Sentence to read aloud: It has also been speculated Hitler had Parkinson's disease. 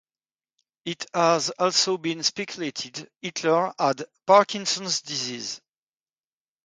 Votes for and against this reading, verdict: 2, 0, accepted